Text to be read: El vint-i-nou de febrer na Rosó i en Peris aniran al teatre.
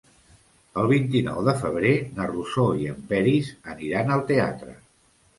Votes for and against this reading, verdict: 2, 0, accepted